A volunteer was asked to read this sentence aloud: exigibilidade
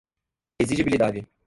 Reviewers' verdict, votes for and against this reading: rejected, 0, 2